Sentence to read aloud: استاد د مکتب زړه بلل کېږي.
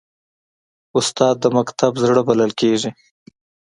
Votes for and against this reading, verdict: 2, 0, accepted